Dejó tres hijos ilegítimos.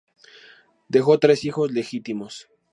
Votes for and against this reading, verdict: 2, 2, rejected